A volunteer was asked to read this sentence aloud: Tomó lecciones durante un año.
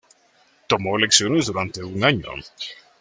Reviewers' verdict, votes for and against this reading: rejected, 1, 2